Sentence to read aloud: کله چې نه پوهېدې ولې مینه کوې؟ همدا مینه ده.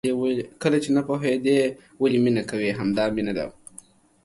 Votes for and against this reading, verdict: 2, 0, accepted